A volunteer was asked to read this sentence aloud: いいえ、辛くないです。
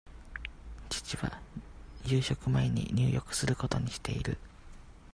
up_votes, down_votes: 0, 2